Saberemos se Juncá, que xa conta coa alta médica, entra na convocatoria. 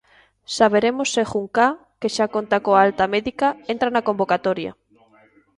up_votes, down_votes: 0, 2